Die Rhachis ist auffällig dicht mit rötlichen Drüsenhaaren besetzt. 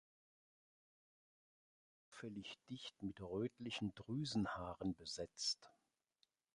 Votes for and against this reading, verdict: 0, 2, rejected